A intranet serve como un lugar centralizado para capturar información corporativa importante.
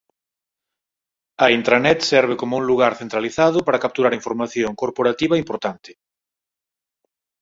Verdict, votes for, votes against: accepted, 6, 0